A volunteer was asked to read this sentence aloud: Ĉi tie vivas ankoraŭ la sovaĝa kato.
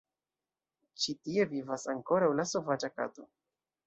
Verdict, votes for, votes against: rejected, 1, 2